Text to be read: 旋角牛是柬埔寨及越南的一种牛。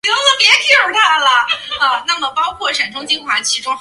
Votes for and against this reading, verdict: 0, 2, rejected